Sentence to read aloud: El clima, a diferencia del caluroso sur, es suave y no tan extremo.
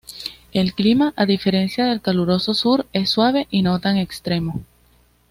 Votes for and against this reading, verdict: 2, 0, accepted